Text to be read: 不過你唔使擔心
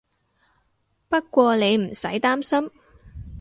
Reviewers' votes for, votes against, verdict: 2, 0, accepted